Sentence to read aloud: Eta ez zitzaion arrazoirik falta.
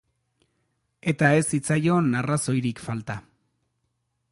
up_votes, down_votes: 2, 0